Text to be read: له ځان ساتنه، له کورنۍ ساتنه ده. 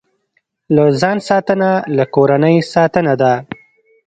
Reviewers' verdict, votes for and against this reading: accepted, 2, 0